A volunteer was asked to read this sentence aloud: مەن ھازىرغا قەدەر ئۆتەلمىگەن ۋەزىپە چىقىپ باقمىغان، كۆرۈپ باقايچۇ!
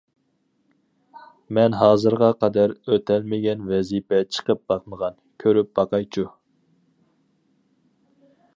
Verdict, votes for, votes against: accepted, 4, 0